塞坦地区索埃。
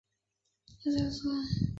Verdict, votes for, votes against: rejected, 2, 6